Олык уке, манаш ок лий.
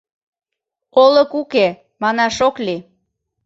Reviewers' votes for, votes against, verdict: 2, 1, accepted